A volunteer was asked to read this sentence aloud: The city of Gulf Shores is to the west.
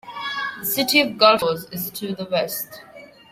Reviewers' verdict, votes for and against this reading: rejected, 1, 2